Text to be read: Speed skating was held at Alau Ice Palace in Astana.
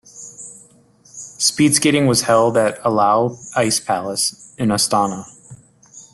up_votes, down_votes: 3, 0